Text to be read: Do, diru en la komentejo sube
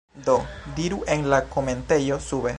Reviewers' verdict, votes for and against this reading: accepted, 2, 1